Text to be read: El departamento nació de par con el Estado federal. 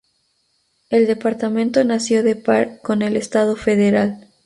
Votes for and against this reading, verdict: 2, 0, accepted